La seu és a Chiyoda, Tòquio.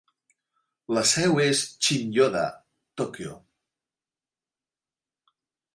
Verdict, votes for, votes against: rejected, 1, 2